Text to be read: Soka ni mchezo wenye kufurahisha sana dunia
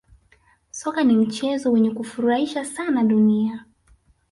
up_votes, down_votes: 3, 2